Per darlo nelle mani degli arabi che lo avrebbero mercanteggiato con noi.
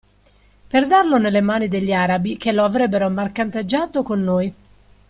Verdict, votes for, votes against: accepted, 2, 1